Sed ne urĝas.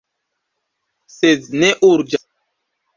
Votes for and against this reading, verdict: 0, 2, rejected